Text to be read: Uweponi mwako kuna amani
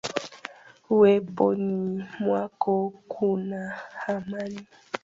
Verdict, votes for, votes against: accepted, 2, 1